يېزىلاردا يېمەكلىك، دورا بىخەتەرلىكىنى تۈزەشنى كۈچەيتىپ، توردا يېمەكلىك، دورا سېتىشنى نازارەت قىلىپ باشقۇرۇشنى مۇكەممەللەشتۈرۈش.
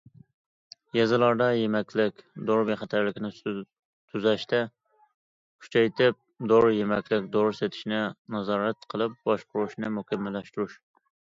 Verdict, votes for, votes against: rejected, 0, 2